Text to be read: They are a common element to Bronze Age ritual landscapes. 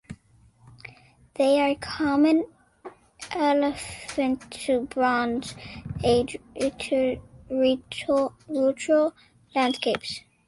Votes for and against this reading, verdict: 1, 2, rejected